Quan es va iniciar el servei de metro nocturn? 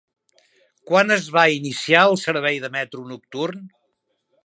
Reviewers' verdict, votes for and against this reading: accepted, 3, 0